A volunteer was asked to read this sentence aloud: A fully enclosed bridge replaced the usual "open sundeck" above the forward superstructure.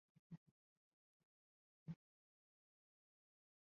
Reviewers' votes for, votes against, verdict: 0, 2, rejected